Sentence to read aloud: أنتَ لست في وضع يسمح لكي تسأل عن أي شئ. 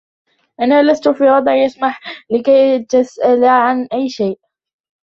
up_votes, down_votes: 1, 3